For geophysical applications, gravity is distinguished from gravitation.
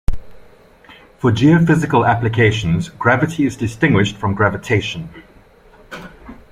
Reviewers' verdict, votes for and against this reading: accepted, 2, 0